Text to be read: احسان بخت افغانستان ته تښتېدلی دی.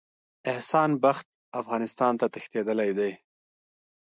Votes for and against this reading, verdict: 1, 2, rejected